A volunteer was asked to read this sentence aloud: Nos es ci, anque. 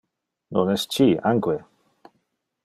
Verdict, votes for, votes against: rejected, 1, 2